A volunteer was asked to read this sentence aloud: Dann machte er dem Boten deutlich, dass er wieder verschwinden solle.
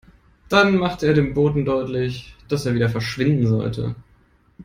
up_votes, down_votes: 0, 2